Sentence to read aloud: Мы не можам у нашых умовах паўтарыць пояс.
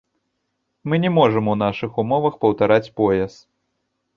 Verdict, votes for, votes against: rejected, 0, 2